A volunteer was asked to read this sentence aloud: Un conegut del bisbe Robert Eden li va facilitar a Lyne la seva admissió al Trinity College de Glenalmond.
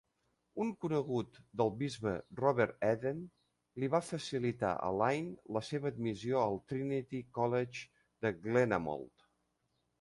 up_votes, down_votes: 1, 2